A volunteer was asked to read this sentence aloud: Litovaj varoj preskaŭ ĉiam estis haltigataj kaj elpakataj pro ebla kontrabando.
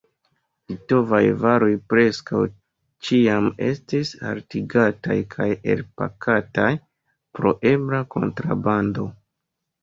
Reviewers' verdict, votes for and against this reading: rejected, 1, 2